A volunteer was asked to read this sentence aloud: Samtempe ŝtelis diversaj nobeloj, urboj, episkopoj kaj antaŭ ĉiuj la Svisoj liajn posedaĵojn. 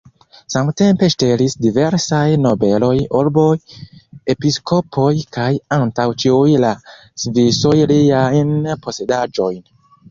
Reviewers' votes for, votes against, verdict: 1, 2, rejected